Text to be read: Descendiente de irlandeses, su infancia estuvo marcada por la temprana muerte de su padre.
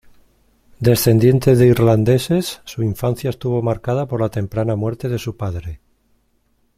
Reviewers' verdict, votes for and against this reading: accepted, 2, 0